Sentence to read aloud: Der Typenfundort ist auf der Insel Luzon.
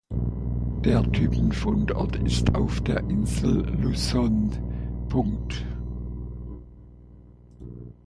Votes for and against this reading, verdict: 1, 2, rejected